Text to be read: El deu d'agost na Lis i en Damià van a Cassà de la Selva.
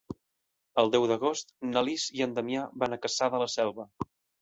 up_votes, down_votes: 3, 0